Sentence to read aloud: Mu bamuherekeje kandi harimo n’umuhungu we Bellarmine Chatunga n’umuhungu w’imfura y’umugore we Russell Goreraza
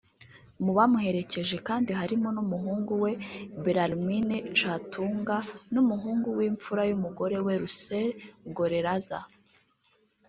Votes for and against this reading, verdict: 1, 2, rejected